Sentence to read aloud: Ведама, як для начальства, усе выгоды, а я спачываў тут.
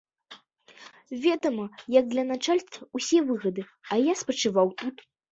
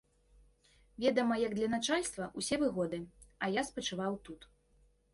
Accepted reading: second